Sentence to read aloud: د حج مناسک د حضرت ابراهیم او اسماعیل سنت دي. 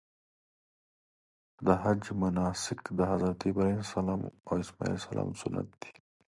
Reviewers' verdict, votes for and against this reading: rejected, 1, 2